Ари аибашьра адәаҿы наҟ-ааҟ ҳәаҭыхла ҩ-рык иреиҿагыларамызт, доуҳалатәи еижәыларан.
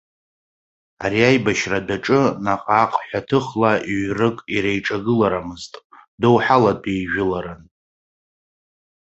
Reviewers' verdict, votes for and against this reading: accepted, 2, 0